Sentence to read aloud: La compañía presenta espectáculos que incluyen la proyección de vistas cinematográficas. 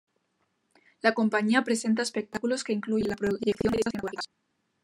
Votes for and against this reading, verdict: 1, 2, rejected